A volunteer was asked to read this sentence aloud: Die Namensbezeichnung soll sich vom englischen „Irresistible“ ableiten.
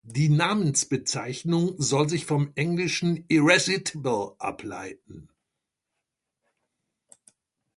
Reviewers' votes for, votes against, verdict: 1, 2, rejected